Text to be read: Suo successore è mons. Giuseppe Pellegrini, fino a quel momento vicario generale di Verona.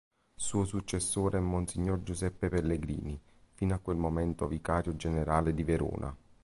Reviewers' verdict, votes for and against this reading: accepted, 2, 0